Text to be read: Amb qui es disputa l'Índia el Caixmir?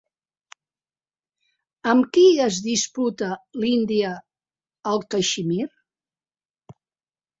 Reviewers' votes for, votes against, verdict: 2, 0, accepted